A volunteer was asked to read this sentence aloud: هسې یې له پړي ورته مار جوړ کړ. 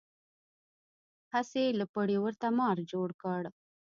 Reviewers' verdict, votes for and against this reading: rejected, 0, 2